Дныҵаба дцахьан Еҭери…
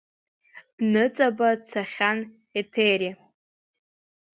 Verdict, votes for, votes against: accepted, 2, 0